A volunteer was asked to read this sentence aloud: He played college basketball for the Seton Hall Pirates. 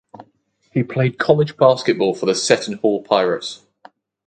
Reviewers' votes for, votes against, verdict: 2, 2, rejected